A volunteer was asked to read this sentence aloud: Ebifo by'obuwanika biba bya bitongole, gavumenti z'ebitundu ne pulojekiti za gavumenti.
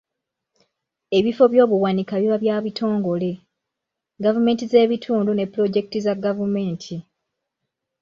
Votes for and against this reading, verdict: 2, 0, accepted